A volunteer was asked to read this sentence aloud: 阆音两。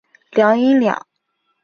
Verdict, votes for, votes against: accepted, 2, 1